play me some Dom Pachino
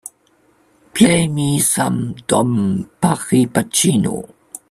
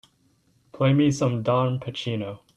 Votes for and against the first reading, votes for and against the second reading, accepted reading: 0, 2, 2, 0, second